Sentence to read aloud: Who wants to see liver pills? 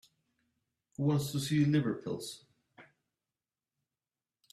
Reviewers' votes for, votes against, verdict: 2, 1, accepted